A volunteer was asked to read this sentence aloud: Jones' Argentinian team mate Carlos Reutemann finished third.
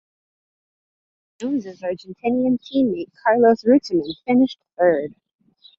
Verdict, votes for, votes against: rejected, 1, 2